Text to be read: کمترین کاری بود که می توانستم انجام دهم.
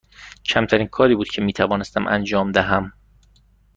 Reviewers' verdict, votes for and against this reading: accepted, 2, 0